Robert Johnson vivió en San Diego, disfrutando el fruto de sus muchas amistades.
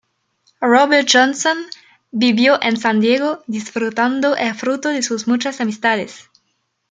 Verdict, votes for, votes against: rejected, 1, 2